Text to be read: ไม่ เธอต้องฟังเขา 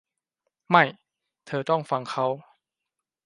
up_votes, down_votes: 3, 1